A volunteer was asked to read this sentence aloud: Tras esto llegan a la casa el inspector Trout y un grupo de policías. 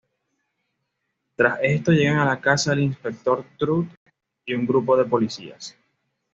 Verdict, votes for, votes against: accepted, 2, 0